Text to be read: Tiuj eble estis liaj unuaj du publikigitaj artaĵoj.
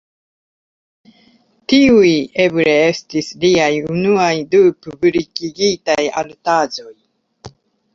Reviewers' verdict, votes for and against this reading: accepted, 2, 0